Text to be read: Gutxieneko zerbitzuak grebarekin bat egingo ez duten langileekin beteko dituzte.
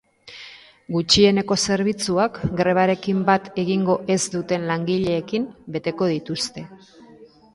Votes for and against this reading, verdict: 2, 0, accepted